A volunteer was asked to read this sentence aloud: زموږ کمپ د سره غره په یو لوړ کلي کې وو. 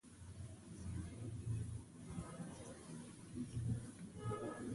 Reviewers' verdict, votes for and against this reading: rejected, 1, 2